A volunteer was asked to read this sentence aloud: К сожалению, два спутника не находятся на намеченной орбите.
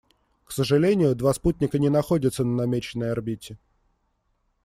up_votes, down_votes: 2, 0